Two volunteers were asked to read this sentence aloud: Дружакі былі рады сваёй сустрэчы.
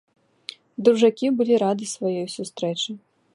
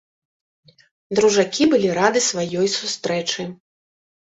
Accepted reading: first